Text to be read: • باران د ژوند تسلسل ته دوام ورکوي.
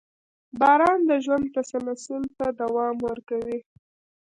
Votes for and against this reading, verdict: 1, 2, rejected